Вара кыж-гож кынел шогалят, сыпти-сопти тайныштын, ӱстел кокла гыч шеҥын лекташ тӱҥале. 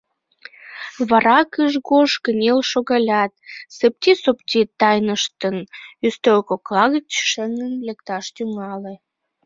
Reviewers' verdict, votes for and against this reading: accepted, 2, 0